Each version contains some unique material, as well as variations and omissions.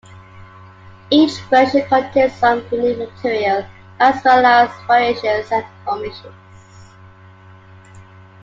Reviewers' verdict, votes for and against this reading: accepted, 2, 0